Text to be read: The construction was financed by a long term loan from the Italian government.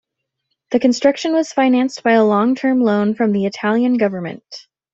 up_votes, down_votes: 2, 0